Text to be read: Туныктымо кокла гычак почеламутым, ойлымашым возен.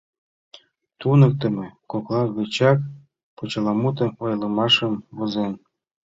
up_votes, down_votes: 2, 0